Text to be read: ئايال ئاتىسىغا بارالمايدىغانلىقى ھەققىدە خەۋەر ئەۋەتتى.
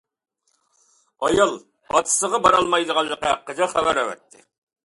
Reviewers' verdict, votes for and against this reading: accepted, 2, 0